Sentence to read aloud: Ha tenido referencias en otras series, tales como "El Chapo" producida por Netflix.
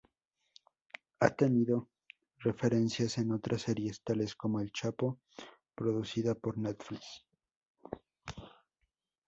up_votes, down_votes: 2, 0